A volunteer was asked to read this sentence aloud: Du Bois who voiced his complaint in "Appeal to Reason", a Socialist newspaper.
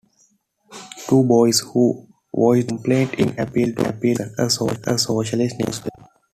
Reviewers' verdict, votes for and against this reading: rejected, 0, 2